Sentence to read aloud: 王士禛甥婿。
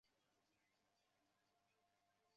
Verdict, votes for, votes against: rejected, 0, 4